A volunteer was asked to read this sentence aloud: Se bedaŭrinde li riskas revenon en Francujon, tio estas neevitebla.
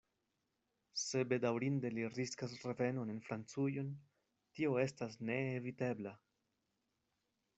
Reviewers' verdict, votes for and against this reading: rejected, 1, 2